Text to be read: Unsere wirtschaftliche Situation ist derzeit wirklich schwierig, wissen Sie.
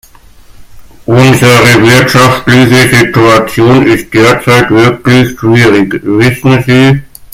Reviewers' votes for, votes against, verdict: 0, 2, rejected